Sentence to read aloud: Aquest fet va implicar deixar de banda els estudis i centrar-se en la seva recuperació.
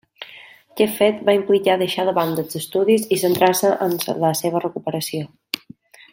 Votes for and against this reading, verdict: 0, 2, rejected